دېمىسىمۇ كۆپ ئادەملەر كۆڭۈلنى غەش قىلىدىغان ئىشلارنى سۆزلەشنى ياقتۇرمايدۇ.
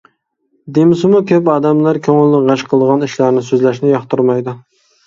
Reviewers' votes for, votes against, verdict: 2, 0, accepted